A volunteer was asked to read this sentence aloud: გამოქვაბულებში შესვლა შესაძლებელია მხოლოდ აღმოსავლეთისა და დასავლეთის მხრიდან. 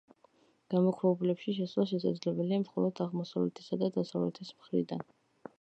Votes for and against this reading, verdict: 2, 0, accepted